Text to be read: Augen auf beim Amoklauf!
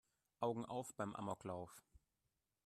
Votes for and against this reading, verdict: 2, 1, accepted